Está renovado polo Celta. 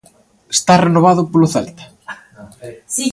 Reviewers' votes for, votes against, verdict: 0, 2, rejected